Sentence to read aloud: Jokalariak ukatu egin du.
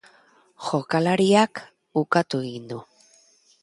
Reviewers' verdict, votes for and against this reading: accepted, 2, 0